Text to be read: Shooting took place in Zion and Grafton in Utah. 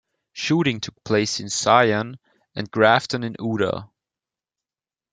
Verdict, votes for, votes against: rejected, 0, 2